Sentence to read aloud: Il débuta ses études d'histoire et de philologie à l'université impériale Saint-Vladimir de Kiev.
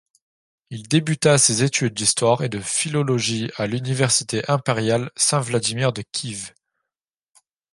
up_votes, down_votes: 1, 2